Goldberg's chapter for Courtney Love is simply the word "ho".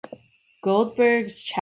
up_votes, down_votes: 0, 2